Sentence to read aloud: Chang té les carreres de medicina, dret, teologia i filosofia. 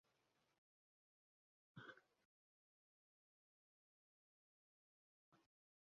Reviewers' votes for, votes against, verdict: 0, 2, rejected